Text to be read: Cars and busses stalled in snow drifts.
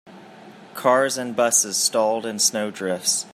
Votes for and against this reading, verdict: 4, 0, accepted